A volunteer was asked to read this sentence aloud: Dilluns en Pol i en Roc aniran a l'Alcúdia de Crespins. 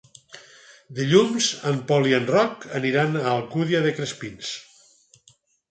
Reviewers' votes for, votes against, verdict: 2, 4, rejected